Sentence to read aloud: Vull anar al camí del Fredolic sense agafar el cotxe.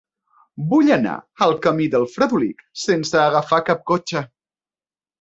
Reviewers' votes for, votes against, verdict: 0, 2, rejected